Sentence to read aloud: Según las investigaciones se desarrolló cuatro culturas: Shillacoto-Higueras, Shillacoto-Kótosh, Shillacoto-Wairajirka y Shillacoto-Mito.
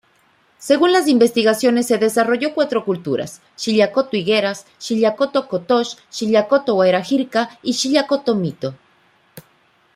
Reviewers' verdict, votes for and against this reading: accepted, 2, 0